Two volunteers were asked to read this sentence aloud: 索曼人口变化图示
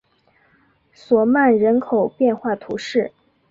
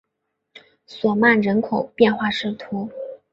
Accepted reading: first